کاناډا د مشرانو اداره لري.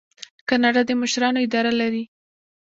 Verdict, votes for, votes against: accepted, 2, 1